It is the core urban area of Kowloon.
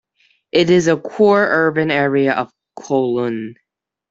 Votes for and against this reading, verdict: 2, 1, accepted